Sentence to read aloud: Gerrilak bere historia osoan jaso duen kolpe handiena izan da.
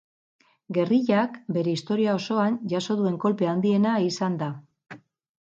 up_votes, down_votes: 2, 2